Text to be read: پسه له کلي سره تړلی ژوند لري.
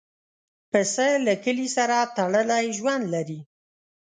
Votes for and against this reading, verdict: 2, 0, accepted